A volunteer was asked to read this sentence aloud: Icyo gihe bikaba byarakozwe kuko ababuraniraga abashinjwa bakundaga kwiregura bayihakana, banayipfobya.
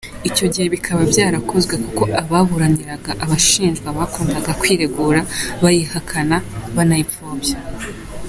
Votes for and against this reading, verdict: 2, 1, accepted